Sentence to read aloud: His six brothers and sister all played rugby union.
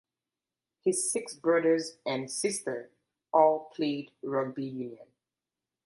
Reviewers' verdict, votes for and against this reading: accepted, 2, 0